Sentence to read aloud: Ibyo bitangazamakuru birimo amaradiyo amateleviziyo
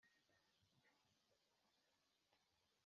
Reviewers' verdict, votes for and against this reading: rejected, 2, 3